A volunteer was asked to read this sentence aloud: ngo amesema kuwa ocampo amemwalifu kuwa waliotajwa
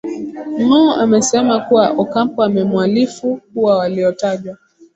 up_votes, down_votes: 2, 0